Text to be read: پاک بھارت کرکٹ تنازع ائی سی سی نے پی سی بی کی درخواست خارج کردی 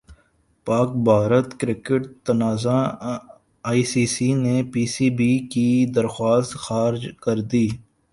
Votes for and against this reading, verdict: 1, 2, rejected